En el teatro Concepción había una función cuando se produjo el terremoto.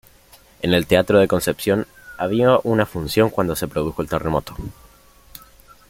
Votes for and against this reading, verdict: 1, 2, rejected